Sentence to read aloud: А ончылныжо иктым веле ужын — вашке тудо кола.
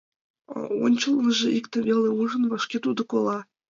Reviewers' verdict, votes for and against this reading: accepted, 2, 0